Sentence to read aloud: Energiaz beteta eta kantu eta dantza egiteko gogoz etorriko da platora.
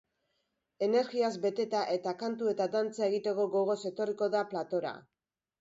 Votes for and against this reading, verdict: 2, 0, accepted